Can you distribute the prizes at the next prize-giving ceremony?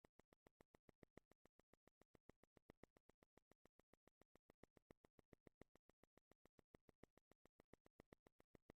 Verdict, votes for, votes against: rejected, 0, 2